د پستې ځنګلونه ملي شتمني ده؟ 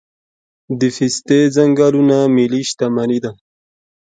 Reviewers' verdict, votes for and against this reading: rejected, 1, 2